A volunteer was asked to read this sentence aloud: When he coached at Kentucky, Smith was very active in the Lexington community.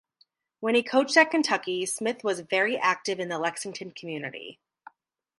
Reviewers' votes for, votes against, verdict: 2, 0, accepted